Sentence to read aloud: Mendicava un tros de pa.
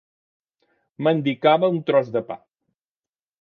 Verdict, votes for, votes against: accepted, 2, 0